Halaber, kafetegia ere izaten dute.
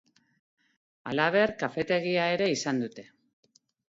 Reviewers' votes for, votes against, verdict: 0, 4, rejected